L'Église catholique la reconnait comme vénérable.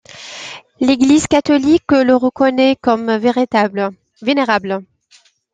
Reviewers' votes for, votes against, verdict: 0, 2, rejected